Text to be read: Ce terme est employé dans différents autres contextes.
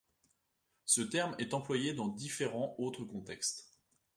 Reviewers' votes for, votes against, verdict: 2, 0, accepted